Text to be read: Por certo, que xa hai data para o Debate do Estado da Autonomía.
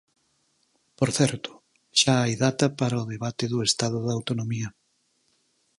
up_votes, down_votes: 2, 4